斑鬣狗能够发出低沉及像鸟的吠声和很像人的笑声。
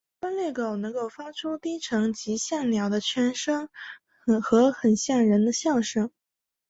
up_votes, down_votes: 2, 0